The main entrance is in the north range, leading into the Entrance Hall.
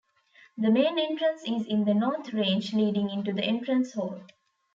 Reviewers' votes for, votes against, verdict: 2, 0, accepted